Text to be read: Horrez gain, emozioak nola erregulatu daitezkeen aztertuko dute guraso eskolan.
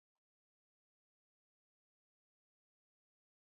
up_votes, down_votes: 0, 2